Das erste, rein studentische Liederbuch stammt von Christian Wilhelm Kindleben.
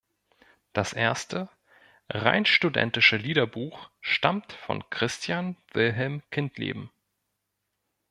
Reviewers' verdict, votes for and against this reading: accepted, 2, 0